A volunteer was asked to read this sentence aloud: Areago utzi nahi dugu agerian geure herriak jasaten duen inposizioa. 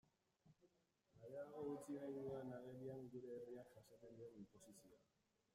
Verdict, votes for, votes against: rejected, 0, 2